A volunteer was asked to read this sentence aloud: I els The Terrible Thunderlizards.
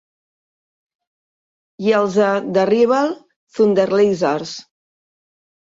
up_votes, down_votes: 1, 2